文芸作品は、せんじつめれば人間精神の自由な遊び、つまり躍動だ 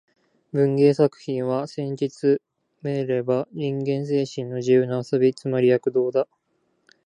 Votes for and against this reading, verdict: 2, 0, accepted